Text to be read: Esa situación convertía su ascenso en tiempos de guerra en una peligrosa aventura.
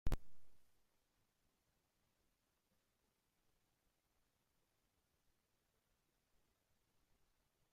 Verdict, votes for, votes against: rejected, 0, 3